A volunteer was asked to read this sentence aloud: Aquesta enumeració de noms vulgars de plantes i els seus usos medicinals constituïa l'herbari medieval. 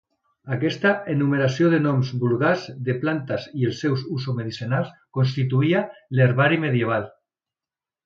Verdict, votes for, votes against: accepted, 2, 0